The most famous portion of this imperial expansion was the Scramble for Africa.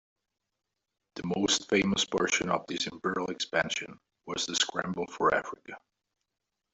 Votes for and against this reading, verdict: 1, 2, rejected